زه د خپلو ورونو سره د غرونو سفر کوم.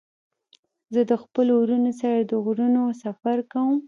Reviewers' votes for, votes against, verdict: 2, 0, accepted